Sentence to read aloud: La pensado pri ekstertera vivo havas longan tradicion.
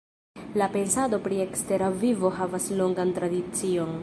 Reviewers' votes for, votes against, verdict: 1, 2, rejected